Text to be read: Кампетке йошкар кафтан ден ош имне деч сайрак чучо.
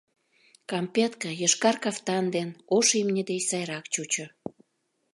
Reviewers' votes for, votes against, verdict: 2, 0, accepted